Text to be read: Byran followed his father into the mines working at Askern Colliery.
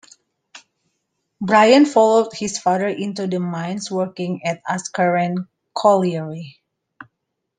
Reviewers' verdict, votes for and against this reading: rejected, 1, 2